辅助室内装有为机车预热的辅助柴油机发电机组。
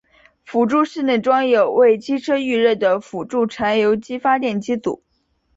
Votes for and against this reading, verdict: 2, 1, accepted